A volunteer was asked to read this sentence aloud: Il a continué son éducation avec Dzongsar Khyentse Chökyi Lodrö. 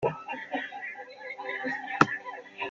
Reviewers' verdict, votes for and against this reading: rejected, 0, 2